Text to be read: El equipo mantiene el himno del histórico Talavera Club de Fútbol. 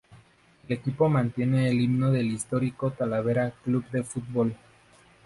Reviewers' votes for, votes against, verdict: 0, 2, rejected